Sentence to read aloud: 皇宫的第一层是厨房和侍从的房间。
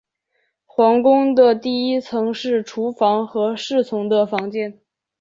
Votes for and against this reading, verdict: 2, 0, accepted